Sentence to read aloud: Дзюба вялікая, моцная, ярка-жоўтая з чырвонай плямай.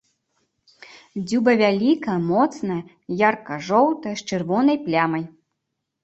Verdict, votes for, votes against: rejected, 1, 2